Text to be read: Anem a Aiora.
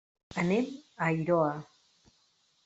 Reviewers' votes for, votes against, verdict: 0, 2, rejected